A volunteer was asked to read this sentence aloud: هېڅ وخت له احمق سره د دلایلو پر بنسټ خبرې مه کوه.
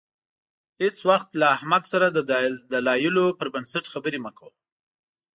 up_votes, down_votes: 2, 0